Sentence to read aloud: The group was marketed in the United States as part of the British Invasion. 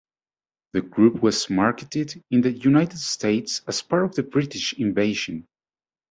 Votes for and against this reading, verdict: 2, 0, accepted